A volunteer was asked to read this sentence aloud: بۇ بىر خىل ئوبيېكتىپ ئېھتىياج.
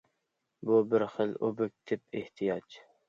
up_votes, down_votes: 2, 0